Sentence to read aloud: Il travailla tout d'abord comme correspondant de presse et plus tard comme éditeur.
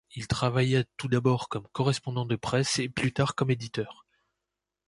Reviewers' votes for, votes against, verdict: 1, 2, rejected